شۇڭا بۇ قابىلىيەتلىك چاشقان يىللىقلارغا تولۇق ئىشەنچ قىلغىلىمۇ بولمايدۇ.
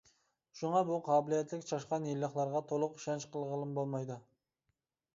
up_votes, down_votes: 2, 0